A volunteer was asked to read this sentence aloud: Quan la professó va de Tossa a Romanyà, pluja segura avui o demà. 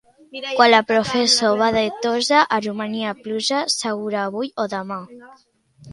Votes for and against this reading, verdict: 1, 2, rejected